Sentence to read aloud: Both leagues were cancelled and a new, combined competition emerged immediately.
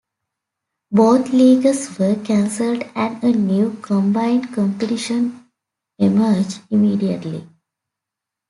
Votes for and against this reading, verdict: 2, 0, accepted